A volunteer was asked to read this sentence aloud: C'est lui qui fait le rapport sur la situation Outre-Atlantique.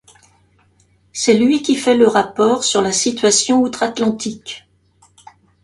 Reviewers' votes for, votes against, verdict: 2, 0, accepted